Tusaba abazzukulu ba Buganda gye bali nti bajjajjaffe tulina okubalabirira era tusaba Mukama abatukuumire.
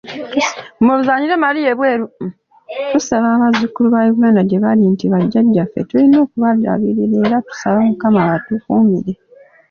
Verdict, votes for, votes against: rejected, 1, 2